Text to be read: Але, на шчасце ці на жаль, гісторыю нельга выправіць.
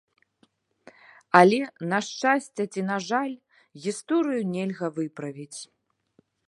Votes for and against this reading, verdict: 2, 0, accepted